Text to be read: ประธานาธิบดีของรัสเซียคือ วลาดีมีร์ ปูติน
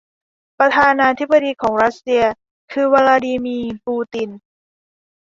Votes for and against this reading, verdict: 2, 0, accepted